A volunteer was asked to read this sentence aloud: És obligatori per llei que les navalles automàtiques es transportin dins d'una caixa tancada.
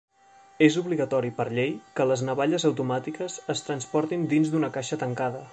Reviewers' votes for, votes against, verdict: 3, 0, accepted